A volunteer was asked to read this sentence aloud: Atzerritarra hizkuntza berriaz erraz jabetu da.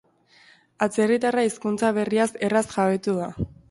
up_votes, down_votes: 2, 0